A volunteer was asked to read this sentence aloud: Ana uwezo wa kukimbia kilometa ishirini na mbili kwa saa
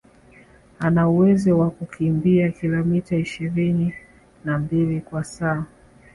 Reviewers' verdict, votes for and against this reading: rejected, 1, 2